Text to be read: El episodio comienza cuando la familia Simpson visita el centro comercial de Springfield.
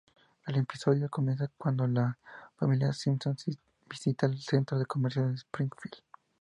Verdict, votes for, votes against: rejected, 0, 2